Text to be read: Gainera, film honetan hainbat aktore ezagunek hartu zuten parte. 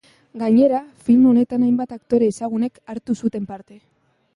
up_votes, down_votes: 2, 0